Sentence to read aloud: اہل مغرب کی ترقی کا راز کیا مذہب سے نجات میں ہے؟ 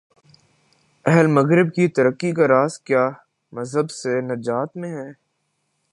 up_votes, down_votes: 1, 2